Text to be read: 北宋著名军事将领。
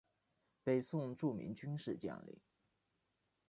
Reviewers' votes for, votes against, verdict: 2, 1, accepted